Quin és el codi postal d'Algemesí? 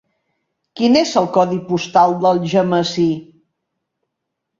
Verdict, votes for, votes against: accepted, 3, 0